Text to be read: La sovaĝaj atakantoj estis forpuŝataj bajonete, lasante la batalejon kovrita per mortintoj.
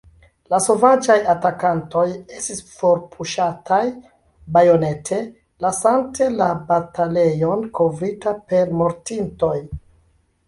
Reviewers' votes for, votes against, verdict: 2, 0, accepted